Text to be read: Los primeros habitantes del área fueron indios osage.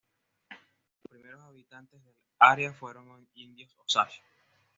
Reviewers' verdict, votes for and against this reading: rejected, 1, 2